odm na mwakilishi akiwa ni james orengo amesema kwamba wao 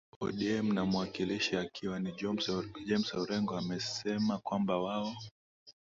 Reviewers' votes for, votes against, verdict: 0, 2, rejected